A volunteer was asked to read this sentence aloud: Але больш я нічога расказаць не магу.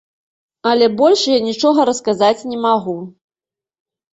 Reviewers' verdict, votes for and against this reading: accepted, 2, 0